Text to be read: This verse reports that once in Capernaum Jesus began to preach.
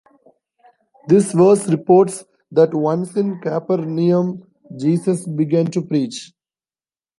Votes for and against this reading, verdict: 1, 2, rejected